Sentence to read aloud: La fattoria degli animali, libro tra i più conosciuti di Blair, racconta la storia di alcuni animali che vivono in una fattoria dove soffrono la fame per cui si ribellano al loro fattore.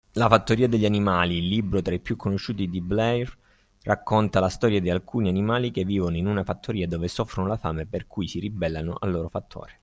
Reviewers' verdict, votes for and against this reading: accepted, 3, 0